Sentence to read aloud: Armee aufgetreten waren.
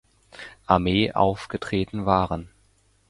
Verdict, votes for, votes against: accepted, 2, 0